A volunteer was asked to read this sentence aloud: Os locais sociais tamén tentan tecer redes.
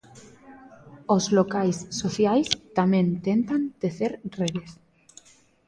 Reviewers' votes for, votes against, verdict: 2, 0, accepted